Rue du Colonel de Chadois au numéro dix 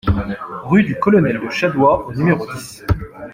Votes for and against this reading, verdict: 2, 1, accepted